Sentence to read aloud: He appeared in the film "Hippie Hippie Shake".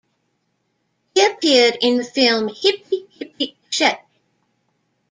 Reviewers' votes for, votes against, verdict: 1, 2, rejected